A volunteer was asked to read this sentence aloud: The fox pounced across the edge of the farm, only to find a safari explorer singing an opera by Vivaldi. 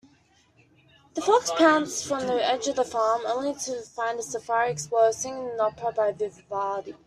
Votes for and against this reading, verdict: 0, 2, rejected